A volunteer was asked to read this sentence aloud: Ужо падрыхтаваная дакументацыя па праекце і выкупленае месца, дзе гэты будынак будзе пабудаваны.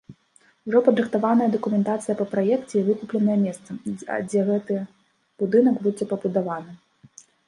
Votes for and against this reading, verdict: 0, 2, rejected